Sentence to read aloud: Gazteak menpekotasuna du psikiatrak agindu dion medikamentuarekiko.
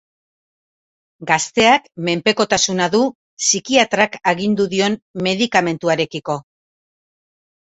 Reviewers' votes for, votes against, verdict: 2, 0, accepted